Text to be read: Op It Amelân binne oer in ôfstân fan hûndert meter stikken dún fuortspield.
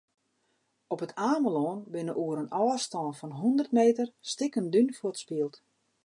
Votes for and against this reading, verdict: 0, 2, rejected